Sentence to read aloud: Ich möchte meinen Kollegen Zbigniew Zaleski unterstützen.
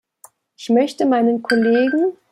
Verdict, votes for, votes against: rejected, 0, 2